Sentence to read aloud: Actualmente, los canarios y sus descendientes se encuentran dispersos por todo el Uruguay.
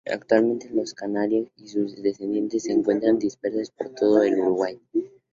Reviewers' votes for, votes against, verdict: 2, 0, accepted